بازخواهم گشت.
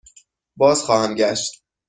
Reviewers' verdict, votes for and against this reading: accepted, 2, 0